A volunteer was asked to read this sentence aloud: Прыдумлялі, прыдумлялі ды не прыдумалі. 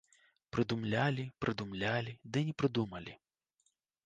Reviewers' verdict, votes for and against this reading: accepted, 2, 0